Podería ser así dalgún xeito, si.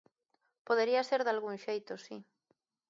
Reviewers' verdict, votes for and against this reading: rejected, 1, 2